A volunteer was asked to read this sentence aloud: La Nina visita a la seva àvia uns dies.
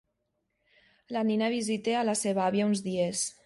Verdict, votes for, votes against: accepted, 2, 0